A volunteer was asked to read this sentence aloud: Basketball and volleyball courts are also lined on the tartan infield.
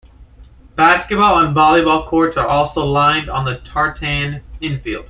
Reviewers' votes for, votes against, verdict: 2, 1, accepted